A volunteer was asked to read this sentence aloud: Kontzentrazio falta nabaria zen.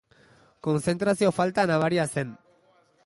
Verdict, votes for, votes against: rejected, 1, 2